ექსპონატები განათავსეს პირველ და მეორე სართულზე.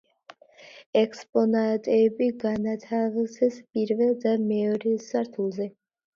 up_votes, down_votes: 1, 2